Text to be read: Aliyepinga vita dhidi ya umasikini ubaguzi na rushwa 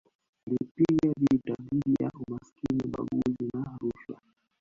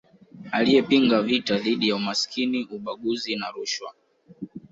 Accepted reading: second